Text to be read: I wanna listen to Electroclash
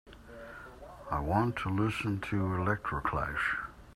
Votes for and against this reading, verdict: 1, 2, rejected